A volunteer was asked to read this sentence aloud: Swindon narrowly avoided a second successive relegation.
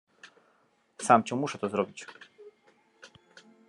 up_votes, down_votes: 0, 2